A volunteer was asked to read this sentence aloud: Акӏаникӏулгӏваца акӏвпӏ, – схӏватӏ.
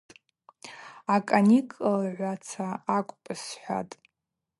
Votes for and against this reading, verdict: 2, 0, accepted